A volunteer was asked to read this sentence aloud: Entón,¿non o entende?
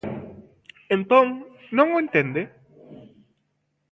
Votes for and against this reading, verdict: 2, 0, accepted